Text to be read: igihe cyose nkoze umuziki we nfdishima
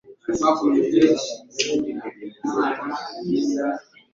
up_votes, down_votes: 1, 2